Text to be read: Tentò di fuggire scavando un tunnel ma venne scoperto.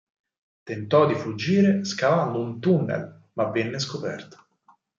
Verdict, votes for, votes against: accepted, 4, 0